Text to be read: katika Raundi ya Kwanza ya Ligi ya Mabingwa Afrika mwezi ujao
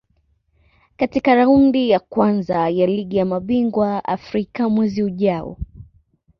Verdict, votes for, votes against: accepted, 2, 0